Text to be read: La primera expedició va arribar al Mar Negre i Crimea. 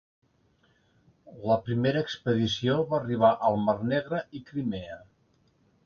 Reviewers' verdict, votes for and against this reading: accepted, 2, 0